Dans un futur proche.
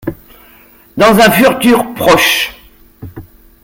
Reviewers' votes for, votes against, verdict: 0, 2, rejected